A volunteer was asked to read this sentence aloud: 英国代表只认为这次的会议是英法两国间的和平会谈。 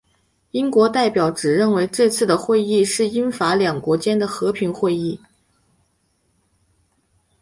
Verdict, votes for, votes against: accepted, 2, 0